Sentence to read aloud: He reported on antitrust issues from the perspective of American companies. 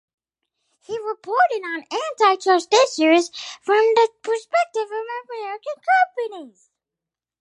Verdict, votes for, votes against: rejected, 0, 4